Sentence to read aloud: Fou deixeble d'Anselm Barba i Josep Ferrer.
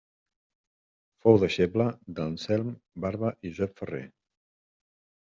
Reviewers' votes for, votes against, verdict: 1, 2, rejected